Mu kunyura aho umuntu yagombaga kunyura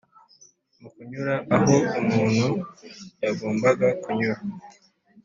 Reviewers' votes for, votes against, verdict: 2, 0, accepted